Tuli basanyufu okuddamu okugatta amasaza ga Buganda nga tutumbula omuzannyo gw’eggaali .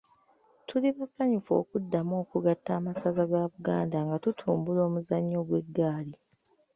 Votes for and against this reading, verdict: 1, 2, rejected